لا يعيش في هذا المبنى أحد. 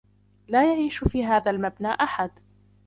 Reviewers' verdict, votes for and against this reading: rejected, 0, 2